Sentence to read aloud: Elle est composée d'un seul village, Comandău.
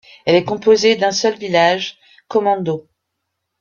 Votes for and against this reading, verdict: 2, 0, accepted